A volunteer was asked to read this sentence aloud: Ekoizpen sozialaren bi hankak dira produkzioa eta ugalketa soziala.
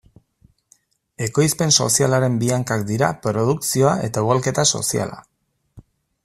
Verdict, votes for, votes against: accepted, 2, 0